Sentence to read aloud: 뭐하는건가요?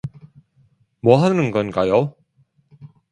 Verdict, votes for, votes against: accepted, 2, 1